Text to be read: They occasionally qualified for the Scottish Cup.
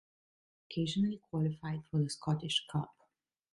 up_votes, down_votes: 1, 2